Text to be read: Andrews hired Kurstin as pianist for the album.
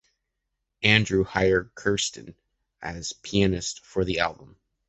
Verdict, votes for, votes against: rejected, 0, 2